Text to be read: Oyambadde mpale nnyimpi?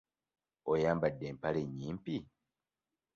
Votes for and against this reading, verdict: 2, 0, accepted